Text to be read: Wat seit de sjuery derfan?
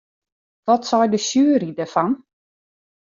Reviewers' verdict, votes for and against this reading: rejected, 1, 2